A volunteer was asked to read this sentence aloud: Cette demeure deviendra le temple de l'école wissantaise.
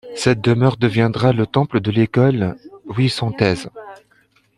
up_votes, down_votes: 2, 0